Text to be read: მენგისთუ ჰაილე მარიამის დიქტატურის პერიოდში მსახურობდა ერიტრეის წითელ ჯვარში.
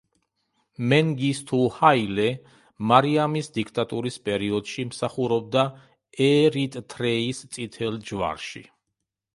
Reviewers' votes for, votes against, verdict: 0, 2, rejected